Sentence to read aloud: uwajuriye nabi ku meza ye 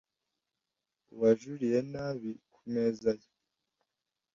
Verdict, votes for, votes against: accepted, 2, 0